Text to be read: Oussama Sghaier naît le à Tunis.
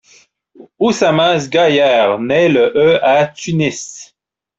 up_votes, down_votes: 1, 2